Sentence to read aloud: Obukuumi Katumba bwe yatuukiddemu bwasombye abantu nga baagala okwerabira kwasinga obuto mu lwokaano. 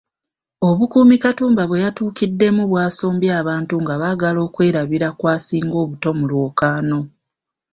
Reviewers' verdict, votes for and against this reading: rejected, 1, 2